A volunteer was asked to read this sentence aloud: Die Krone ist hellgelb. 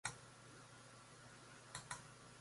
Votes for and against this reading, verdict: 0, 2, rejected